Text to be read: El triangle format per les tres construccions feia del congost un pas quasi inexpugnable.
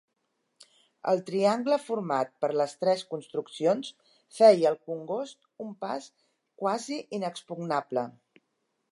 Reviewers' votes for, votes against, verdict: 0, 2, rejected